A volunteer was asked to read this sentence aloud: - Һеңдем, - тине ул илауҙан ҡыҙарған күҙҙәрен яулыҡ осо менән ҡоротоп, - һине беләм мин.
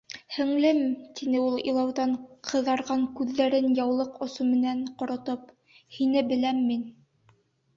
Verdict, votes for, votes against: rejected, 1, 2